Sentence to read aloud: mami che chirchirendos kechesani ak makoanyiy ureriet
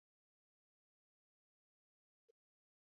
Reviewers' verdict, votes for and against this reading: rejected, 0, 2